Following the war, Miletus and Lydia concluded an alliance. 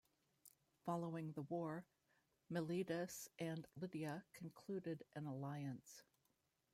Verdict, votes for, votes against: rejected, 0, 2